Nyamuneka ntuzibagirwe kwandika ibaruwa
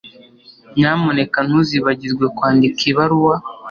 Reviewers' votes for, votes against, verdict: 2, 0, accepted